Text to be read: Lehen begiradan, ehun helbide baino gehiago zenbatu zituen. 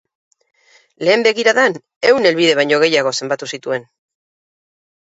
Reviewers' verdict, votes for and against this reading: accepted, 2, 0